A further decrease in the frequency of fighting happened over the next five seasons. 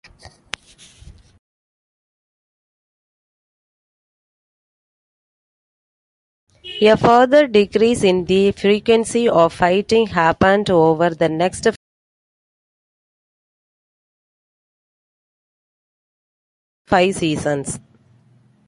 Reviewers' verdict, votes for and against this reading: rejected, 0, 2